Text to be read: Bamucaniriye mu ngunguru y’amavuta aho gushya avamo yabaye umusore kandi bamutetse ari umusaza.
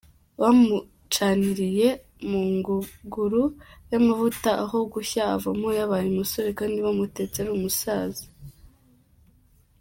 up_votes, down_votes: 2, 0